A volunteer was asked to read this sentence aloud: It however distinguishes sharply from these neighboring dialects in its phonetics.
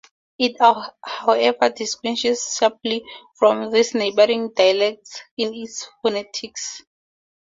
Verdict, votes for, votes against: accepted, 2, 0